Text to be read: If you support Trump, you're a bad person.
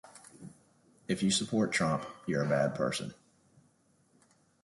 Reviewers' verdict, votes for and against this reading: accepted, 2, 0